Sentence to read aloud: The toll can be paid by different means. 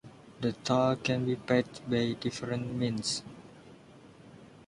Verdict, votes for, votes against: accepted, 2, 0